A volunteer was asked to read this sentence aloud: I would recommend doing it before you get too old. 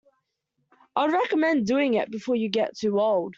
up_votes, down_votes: 2, 1